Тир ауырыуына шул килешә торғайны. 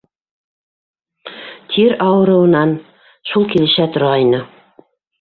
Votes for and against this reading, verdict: 0, 3, rejected